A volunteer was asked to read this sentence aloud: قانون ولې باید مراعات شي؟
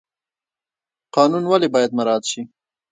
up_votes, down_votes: 1, 2